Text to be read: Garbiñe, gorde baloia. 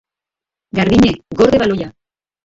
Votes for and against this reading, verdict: 0, 2, rejected